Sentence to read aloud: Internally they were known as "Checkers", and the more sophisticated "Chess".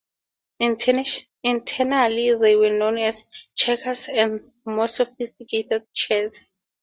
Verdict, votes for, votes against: rejected, 0, 2